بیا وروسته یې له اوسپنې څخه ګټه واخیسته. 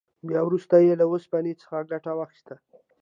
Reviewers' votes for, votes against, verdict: 2, 0, accepted